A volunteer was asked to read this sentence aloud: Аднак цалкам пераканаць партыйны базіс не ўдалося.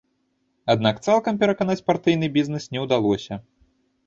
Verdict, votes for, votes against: rejected, 0, 2